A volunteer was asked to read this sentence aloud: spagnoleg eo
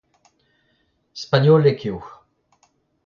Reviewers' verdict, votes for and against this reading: rejected, 0, 2